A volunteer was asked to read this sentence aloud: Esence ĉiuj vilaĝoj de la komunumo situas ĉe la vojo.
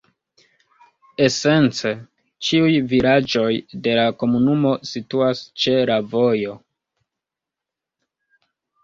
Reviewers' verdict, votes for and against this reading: rejected, 1, 2